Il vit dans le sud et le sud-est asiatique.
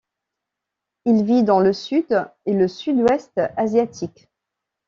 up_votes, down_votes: 1, 2